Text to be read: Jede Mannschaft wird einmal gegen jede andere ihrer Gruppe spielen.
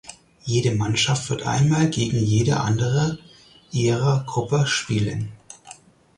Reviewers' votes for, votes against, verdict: 4, 0, accepted